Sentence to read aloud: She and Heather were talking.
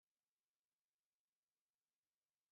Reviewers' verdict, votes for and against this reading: rejected, 0, 2